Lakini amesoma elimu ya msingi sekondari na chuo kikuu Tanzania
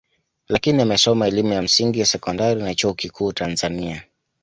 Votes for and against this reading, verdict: 2, 0, accepted